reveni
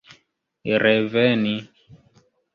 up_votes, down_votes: 2, 0